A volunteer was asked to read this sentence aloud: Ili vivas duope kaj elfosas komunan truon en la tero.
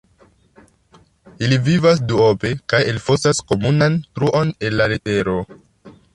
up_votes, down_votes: 2, 1